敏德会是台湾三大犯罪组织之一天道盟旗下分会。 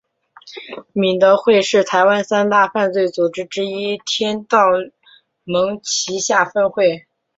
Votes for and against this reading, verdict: 7, 0, accepted